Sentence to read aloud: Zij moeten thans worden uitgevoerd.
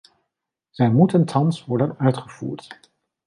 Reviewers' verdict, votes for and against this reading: accepted, 2, 0